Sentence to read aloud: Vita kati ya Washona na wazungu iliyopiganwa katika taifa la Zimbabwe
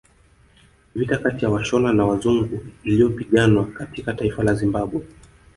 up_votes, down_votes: 2, 0